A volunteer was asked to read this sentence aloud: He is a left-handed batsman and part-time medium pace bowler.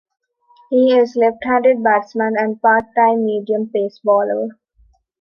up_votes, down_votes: 2, 0